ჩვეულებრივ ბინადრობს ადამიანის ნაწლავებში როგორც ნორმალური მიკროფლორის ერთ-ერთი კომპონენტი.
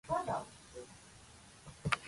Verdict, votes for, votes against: rejected, 0, 2